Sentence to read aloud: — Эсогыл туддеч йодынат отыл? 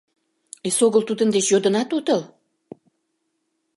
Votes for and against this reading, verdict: 1, 2, rejected